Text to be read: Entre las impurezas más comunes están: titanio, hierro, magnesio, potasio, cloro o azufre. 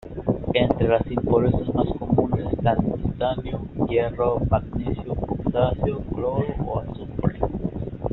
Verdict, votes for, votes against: rejected, 1, 2